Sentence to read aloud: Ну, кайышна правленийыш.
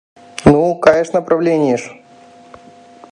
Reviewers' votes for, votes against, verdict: 2, 0, accepted